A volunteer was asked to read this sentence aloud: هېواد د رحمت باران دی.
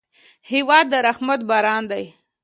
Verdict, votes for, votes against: accepted, 2, 0